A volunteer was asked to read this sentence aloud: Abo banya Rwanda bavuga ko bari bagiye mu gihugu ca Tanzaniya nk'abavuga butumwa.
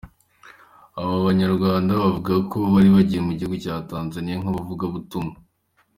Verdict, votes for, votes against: accepted, 2, 0